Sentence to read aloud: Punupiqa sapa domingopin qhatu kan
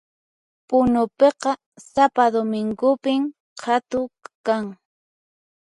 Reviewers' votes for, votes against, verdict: 4, 2, accepted